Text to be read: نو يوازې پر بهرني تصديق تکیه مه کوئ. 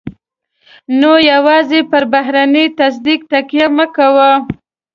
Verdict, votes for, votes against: accepted, 3, 2